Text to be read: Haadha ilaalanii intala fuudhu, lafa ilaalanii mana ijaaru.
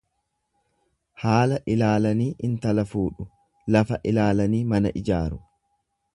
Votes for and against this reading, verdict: 1, 2, rejected